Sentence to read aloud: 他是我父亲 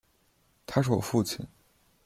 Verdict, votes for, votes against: accepted, 2, 0